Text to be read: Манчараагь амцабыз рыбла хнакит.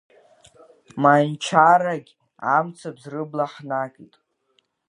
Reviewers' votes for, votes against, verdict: 1, 2, rejected